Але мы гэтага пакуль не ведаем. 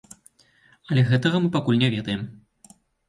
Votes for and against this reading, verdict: 2, 0, accepted